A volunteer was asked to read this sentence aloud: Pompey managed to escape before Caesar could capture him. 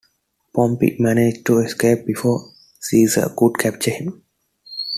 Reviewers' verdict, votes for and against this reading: accepted, 2, 0